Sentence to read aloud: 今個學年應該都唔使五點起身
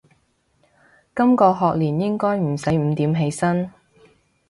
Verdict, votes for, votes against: rejected, 1, 2